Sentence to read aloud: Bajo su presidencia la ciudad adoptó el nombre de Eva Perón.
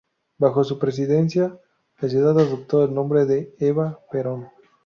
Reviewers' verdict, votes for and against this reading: rejected, 0, 2